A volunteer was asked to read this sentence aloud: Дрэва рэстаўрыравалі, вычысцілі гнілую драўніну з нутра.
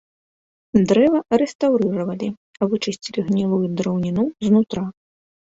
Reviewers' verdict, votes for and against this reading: rejected, 0, 2